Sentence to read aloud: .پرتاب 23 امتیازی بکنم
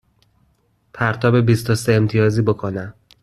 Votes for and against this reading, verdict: 0, 2, rejected